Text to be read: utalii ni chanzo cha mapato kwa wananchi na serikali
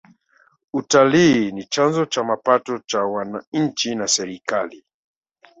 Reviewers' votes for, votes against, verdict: 0, 2, rejected